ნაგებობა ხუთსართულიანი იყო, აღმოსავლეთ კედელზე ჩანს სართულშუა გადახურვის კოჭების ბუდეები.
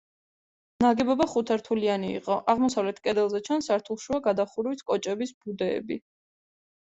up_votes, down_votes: 2, 0